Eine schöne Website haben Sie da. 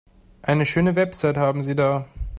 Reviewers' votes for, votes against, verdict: 2, 0, accepted